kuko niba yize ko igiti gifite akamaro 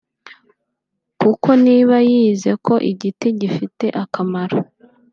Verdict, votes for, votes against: accepted, 2, 0